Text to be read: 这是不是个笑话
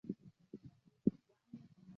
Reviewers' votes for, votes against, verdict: 1, 2, rejected